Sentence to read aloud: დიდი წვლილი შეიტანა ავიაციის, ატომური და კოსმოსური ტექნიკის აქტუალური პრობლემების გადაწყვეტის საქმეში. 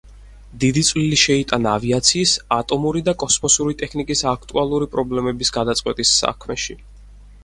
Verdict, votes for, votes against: accepted, 4, 0